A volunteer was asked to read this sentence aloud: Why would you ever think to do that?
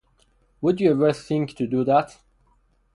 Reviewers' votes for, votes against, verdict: 2, 2, rejected